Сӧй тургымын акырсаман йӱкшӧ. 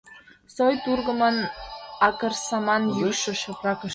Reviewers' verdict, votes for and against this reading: rejected, 1, 2